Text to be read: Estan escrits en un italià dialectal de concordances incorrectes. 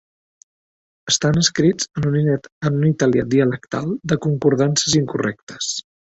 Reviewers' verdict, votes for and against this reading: rejected, 1, 2